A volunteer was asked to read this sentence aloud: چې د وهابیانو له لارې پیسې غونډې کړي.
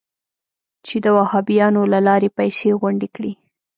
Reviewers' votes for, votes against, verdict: 1, 2, rejected